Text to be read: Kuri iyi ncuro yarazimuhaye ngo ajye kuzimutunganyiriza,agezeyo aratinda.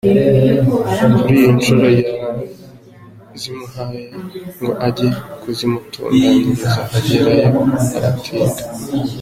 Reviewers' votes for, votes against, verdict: 0, 2, rejected